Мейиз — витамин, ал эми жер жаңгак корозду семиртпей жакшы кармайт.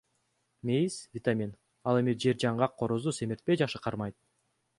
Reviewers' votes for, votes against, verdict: 2, 0, accepted